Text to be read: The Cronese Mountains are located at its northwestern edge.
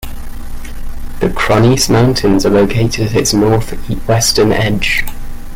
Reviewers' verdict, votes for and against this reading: rejected, 1, 2